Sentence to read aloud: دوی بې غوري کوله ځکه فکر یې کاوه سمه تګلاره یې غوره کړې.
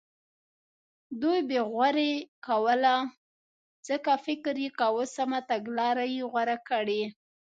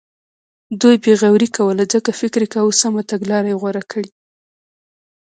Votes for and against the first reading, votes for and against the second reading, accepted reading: 2, 0, 0, 2, first